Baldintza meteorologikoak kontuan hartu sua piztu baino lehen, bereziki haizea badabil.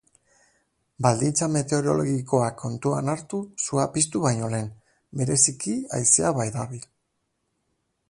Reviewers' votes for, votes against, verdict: 3, 3, rejected